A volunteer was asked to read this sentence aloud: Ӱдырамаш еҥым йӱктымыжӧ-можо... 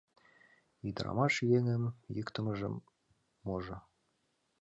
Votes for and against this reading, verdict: 2, 1, accepted